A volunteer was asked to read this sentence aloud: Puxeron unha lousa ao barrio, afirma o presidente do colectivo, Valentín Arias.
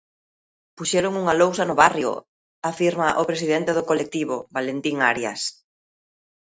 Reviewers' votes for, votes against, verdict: 0, 2, rejected